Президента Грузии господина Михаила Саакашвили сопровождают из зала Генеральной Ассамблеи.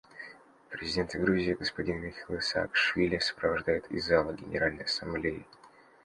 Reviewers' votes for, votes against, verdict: 2, 0, accepted